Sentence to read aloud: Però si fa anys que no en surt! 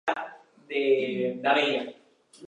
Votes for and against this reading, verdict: 0, 2, rejected